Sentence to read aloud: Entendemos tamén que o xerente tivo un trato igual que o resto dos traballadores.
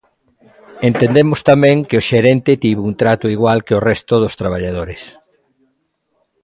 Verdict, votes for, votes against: accepted, 2, 0